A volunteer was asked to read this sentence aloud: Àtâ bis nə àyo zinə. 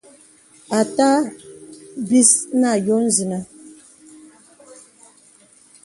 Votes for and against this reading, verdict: 2, 0, accepted